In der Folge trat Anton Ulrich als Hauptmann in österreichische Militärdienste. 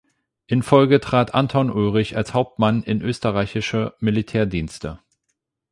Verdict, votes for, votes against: rejected, 0, 8